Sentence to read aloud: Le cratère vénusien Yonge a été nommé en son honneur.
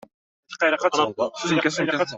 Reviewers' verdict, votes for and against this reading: rejected, 1, 2